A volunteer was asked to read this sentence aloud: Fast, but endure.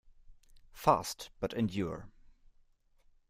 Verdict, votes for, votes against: accepted, 2, 0